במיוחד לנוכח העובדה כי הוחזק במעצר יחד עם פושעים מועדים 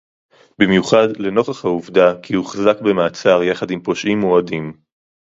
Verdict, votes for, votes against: accepted, 2, 0